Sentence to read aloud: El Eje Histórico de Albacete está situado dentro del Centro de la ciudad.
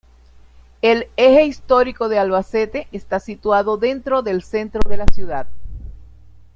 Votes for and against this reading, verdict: 2, 0, accepted